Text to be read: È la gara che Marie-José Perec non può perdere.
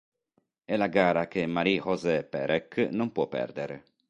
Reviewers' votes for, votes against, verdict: 3, 0, accepted